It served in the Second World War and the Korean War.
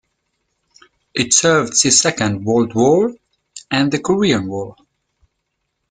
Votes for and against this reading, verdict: 1, 2, rejected